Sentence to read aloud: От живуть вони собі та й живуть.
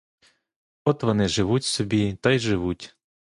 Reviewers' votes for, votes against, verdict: 1, 2, rejected